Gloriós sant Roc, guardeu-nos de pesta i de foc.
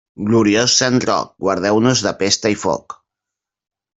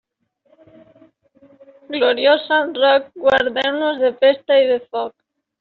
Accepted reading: second